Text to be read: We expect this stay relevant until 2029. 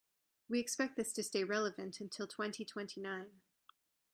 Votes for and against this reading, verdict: 0, 2, rejected